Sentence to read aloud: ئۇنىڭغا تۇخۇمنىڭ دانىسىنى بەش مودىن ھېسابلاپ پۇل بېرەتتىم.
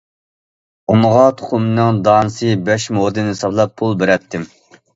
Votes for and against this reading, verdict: 0, 2, rejected